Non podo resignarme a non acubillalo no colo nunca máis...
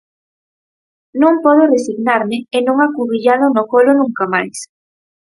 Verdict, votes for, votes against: rejected, 0, 4